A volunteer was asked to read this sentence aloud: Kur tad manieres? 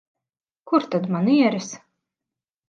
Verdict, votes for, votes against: accepted, 4, 0